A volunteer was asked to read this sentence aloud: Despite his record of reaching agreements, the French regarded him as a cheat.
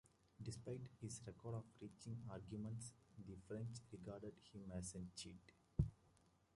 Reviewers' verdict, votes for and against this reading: rejected, 1, 2